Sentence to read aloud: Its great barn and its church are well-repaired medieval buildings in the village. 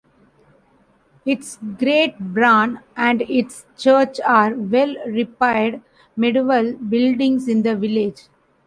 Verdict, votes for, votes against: rejected, 0, 2